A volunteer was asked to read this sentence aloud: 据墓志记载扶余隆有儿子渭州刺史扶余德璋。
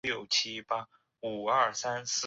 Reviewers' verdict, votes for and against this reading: rejected, 0, 2